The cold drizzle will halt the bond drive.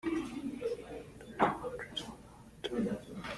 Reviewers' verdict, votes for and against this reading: rejected, 0, 2